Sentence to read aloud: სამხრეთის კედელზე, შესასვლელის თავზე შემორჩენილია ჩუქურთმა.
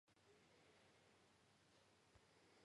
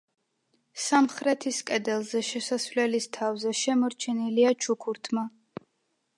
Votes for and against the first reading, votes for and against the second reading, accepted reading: 1, 2, 2, 0, second